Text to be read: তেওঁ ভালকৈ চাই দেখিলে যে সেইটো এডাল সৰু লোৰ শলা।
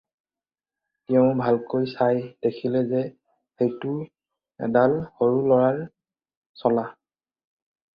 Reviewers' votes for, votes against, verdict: 0, 2, rejected